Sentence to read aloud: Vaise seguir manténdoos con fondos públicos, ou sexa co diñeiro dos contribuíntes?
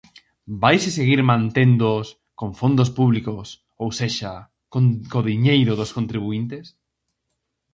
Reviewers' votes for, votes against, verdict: 0, 4, rejected